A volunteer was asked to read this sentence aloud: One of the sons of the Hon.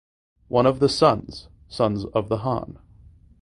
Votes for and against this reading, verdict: 1, 2, rejected